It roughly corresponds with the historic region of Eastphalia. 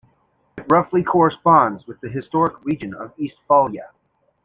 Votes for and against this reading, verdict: 2, 0, accepted